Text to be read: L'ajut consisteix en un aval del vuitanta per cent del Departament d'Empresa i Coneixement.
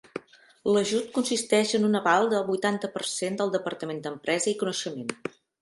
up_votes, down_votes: 2, 0